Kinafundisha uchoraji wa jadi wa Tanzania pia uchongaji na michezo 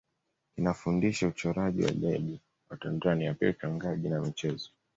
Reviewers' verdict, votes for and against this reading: rejected, 0, 2